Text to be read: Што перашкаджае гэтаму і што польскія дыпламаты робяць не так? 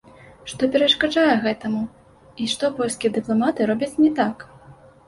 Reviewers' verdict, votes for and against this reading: accepted, 2, 0